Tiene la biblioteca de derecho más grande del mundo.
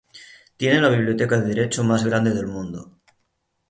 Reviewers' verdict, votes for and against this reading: rejected, 0, 3